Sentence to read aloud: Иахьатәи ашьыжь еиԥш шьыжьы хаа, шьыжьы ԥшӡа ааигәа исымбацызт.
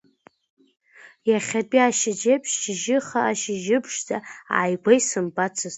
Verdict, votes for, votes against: accepted, 2, 0